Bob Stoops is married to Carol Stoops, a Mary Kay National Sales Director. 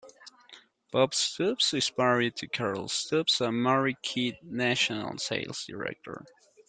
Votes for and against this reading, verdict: 0, 2, rejected